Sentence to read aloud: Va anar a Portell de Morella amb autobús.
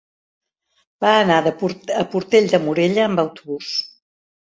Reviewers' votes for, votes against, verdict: 0, 2, rejected